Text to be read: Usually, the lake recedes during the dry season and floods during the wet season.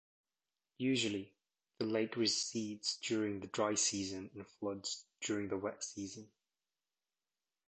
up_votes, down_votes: 2, 0